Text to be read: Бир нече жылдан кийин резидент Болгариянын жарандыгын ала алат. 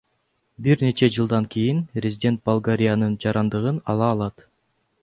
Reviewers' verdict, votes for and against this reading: accepted, 2, 0